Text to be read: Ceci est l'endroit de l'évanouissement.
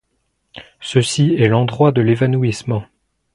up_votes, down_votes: 2, 0